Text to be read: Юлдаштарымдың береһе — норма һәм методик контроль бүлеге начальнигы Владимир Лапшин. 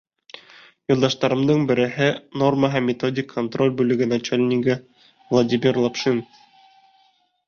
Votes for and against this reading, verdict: 2, 0, accepted